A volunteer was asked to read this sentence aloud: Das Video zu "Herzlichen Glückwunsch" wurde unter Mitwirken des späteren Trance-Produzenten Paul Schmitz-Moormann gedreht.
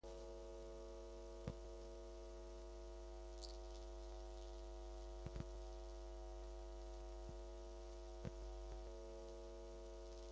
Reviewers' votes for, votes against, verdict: 0, 2, rejected